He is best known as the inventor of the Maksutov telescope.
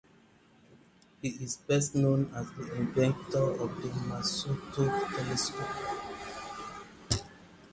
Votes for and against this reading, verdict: 0, 6, rejected